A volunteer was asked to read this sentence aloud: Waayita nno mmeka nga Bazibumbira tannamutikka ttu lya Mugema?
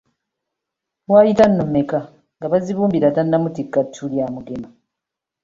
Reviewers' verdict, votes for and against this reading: accepted, 3, 1